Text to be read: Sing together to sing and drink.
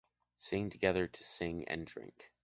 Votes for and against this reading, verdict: 2, 0, accepted